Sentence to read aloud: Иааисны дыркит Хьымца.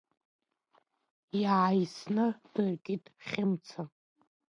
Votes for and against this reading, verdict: 3, 0, accepted